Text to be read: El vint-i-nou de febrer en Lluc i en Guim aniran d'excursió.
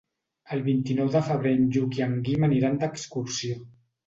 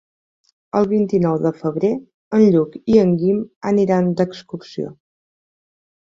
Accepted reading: second